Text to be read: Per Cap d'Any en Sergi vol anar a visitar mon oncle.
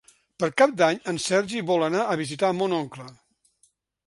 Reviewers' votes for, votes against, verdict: 3, 0, accepted